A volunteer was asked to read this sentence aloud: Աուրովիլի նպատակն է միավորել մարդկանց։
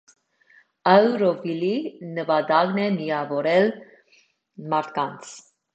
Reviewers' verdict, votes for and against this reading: rejected, 0, 2